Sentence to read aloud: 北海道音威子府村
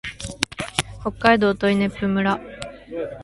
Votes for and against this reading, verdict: 3, 0, accepted